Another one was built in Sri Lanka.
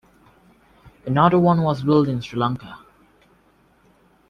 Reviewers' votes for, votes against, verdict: 2, 0, accepted